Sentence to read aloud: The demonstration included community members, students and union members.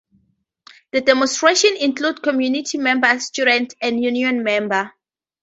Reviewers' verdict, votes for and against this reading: rejected, 0, 4